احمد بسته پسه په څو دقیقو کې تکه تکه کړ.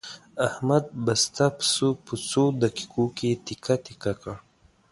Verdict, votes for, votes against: accepted, 2, 1